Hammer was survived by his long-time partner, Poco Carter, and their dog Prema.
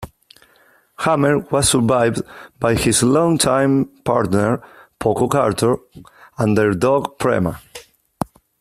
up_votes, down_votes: 2, 0